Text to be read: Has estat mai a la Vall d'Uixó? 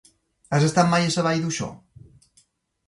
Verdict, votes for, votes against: rejected, 1, 2